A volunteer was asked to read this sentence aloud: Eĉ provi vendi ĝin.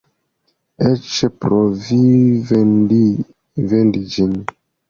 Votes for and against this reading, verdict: 2, 1, accepted